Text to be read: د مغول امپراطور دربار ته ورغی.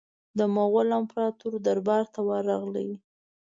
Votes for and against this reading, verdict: 3, 0, accepted